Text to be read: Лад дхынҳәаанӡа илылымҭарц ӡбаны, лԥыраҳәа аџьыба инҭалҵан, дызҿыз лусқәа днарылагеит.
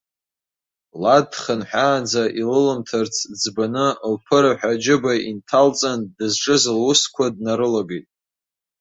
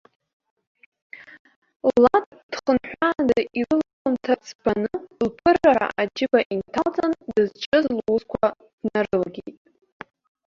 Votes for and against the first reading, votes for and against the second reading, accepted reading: 2, 0, 0, 2, first